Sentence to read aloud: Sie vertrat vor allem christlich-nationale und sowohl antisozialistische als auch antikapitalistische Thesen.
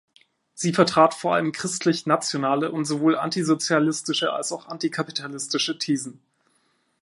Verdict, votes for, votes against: accepted, 2, 0